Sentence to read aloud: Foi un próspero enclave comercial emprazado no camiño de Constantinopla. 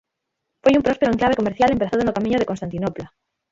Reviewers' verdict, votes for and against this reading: rejected, 3, 6